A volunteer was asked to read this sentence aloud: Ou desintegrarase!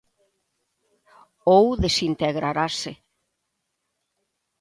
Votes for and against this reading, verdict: 2, 0, accepted